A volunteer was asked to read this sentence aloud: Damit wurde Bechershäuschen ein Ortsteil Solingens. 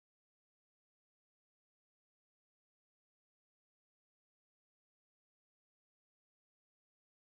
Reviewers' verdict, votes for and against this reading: rejected, 0, 2